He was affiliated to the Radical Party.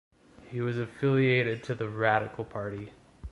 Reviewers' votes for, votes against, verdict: 2, 0, accepted